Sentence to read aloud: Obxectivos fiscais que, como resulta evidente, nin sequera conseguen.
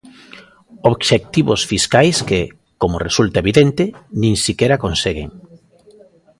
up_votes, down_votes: 1, 2